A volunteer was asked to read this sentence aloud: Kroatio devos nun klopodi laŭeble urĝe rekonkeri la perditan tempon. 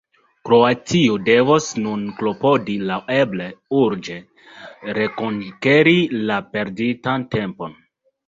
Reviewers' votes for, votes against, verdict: 2, 0, accepted